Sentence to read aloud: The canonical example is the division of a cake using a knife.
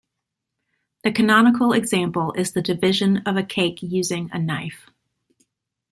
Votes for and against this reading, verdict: 2, 0, accepted